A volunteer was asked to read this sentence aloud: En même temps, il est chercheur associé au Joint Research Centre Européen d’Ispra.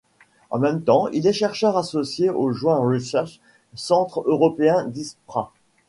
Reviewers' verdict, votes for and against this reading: accepted, 2, 0